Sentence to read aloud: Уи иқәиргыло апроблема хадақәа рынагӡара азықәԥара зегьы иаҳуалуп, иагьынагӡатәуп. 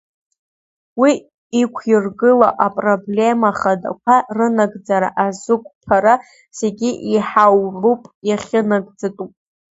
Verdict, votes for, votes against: rejected, 0, 2